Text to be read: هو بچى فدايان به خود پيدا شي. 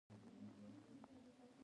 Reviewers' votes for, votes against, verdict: 1, 2, rejected